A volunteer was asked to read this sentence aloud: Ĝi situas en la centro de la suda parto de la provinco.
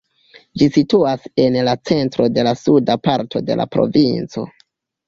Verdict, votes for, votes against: rejected, 0, 2